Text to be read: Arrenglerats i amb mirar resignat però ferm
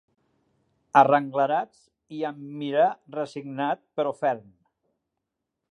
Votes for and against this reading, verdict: 5, 0, accepted